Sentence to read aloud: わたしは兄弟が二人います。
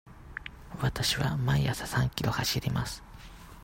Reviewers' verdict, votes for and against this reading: rejected, 0, 2